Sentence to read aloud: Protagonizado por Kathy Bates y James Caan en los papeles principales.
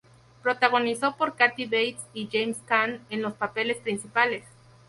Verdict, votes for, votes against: rejected, 0, 2